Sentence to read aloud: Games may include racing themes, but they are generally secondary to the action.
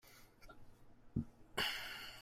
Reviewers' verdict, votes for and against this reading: rejected, 0, 2